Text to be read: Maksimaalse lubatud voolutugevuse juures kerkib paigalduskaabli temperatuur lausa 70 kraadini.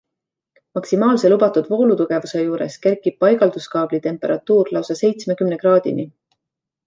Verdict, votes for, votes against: rejected, 0, 2